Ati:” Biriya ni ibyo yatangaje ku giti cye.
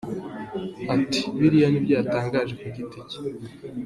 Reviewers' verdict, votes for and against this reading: accepted, 2, 0